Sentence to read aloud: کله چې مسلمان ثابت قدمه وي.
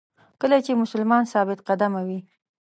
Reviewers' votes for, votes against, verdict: 2, 0, accepted